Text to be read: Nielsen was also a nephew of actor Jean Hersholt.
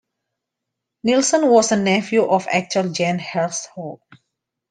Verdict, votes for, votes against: rejected, 0, 2